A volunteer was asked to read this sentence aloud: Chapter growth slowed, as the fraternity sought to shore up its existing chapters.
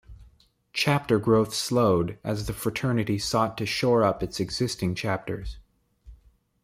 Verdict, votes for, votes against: accepted, 2, 0